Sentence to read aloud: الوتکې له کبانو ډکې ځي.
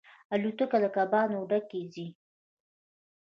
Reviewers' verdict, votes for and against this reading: rejected, 1, 2